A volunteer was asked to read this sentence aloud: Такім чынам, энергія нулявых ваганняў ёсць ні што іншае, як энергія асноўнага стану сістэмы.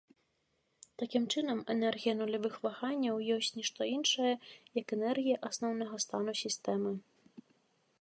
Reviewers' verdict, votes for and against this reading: accepted, 2, 0